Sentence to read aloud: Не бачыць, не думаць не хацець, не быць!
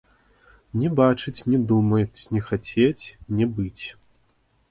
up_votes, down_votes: 2, 0